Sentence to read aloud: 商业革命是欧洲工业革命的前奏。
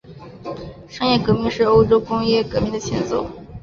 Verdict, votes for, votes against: accepted, 3, 0